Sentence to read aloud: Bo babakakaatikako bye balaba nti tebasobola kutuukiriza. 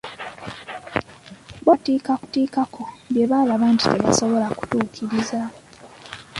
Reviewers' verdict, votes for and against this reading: rejected, 0, 2